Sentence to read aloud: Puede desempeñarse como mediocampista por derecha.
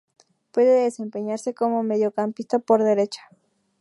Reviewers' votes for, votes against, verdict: 2, 0, accepted